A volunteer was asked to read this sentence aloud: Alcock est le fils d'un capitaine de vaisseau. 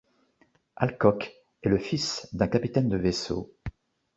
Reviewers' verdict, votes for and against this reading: accepted, 2, 0